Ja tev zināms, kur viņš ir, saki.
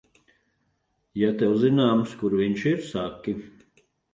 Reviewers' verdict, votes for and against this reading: accepted, 2, 0